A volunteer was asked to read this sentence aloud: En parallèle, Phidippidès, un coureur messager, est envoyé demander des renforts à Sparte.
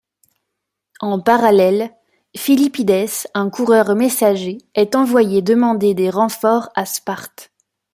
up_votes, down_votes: 0, 2